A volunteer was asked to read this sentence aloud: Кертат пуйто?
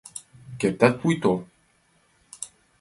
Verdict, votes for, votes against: accepted, 2, 0